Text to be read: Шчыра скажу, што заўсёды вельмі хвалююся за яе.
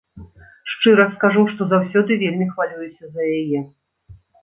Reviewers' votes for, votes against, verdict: 2, 0, accepted